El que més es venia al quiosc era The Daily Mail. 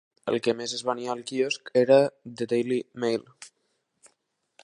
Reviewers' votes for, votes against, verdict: 4, 0, accepted